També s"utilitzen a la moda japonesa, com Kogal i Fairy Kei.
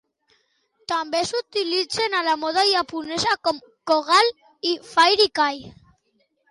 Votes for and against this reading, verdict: 0, 2, rejected